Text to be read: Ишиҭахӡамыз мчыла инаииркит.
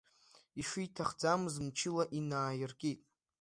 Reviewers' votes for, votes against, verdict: 2, 0, accepted